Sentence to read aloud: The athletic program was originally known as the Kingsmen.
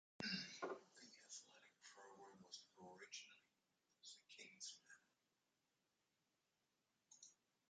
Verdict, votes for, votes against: rejected, 1, 3